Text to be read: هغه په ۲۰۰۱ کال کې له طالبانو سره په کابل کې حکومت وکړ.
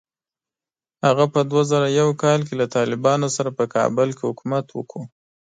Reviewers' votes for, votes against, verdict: 0, 2, rejected